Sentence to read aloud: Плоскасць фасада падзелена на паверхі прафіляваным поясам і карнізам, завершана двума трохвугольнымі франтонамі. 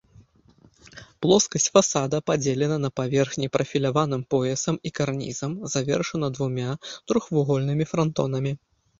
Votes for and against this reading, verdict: 2, 3, rejected